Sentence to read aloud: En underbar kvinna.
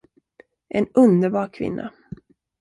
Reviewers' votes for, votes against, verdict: 2, 0, accepted